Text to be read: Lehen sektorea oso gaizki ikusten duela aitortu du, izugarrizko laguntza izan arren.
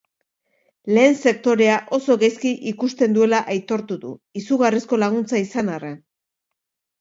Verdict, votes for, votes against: rejected, 1, 2